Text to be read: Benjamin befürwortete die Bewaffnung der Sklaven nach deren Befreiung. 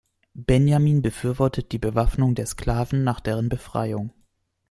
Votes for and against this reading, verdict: 0, 2, rejected